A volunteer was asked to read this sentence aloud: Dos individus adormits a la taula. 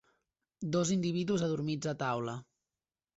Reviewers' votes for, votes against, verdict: 0, 2, rejected